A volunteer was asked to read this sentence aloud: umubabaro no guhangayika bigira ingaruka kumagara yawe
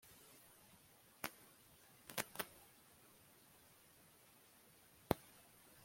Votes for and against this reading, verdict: 0, 2, rejected